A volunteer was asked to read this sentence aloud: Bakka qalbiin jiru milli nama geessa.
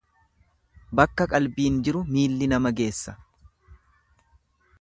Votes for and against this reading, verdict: 1, 2, rejected